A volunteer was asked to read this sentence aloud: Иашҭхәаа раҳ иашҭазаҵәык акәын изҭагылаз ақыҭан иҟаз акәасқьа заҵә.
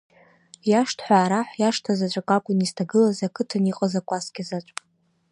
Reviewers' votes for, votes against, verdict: 1, 2, rejected